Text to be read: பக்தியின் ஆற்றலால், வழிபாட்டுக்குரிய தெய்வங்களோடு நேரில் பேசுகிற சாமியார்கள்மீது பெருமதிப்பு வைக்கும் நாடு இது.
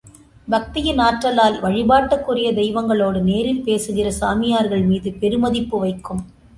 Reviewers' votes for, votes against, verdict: 0, 2, rejected